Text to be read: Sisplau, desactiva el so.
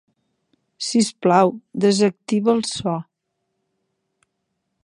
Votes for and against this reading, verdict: 2, 0, accepted